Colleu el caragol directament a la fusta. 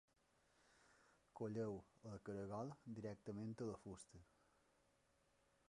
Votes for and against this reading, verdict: 0, 2, rejected